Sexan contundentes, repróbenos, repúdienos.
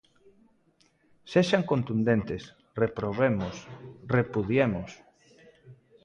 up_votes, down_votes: 0, 2